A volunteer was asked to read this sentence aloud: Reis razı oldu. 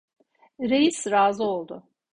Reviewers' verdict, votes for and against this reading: accepted, 2, 0